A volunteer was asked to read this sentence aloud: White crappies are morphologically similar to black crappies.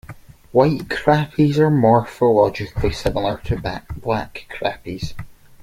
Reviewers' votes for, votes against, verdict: 0, 2, rejected